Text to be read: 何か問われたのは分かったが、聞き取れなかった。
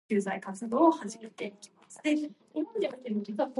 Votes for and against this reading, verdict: 0, 2, rejected